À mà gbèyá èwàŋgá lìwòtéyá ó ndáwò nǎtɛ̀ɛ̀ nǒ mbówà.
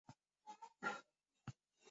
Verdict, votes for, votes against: rejected, 0, 2